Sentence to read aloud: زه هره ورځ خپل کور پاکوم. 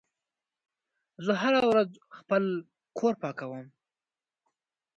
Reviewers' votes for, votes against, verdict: 1, 2, rejected